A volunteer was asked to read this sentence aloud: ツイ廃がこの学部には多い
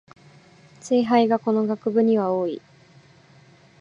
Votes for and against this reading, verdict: 6, 1, accepted